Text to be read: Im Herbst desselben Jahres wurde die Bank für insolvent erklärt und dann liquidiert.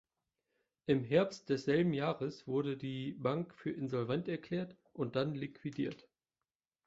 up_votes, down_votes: 2, 0